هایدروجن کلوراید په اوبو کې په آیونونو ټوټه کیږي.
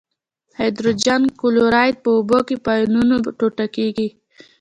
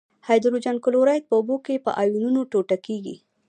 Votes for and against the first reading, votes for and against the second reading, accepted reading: 2, 0, 0, 2, first